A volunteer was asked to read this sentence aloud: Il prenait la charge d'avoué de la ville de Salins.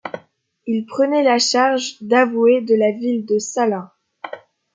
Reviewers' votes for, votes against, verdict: 2, 0, accepted